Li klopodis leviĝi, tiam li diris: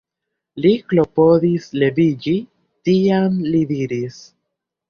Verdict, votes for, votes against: accepted, 2, 0